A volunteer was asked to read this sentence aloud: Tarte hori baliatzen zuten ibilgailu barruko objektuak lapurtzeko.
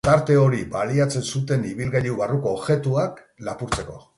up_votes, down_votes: 4, 0